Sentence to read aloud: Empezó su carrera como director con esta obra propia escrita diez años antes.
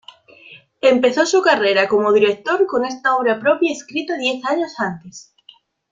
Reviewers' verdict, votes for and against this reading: accepted, 2, 0